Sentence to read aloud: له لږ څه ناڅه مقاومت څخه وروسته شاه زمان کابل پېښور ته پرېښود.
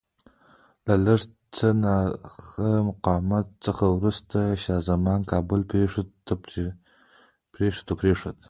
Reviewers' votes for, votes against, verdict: 0, 2, rejected